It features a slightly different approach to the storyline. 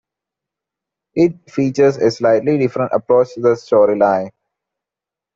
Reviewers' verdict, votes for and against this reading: accepted, 2, 1